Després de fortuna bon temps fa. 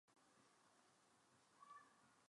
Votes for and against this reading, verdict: 0, 2, rejected